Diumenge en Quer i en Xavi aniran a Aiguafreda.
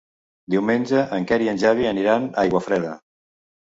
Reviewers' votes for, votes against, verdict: 1, 2, rejected